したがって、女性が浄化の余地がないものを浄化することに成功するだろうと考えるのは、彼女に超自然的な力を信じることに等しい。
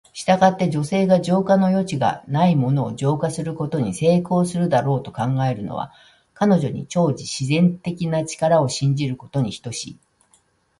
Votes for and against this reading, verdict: 2, 0, accepted